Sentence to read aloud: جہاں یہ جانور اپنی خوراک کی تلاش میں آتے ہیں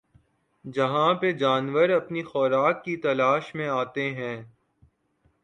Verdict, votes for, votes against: rejected, 0, 2